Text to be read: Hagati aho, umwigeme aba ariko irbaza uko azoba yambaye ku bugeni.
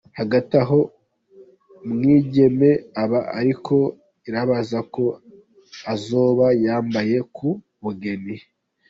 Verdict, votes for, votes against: accepted, 2, 1